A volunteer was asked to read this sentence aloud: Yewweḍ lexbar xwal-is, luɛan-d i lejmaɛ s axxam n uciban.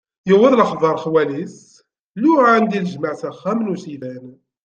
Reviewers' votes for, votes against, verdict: 2, 1, accepted